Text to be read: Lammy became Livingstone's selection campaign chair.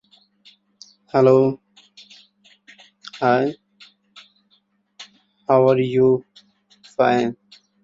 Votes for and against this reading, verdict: 0, 2, rejected